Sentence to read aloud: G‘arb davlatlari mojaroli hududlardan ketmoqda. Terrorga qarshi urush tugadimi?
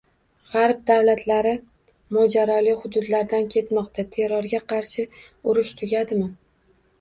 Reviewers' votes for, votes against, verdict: 1, 2, rejected